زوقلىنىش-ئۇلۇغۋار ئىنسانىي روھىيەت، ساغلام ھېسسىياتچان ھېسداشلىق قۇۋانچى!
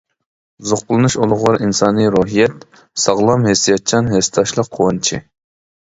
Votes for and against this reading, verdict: 2, 0, accepted